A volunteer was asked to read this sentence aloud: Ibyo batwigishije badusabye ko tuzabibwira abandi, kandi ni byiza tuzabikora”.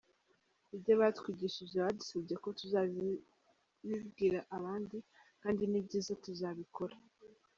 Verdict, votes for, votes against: rejected, 1, 2